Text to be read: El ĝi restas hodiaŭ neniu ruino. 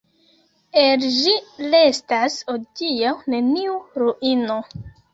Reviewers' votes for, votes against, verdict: 1, 2, rejected